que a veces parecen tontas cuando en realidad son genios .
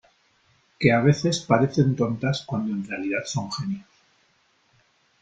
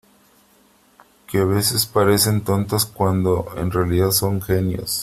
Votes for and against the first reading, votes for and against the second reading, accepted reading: 0, 2, 3, 0, second